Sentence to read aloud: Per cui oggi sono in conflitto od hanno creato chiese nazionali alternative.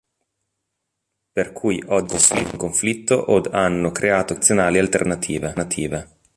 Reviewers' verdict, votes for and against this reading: rejected, 1, 2